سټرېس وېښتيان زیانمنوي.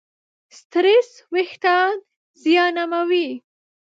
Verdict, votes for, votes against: rejected, 0, 4